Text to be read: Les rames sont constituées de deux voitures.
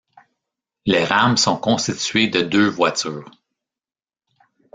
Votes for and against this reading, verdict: 1, 2, rejected